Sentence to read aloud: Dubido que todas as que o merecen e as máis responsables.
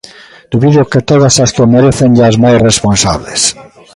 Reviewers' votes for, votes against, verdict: 2, 1, accepted